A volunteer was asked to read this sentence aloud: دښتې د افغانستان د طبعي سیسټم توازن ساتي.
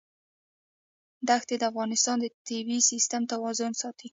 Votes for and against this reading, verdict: 0, 2, rejected